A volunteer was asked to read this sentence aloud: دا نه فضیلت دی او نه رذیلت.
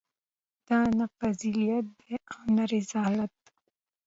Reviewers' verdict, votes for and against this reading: rejected, 0, 2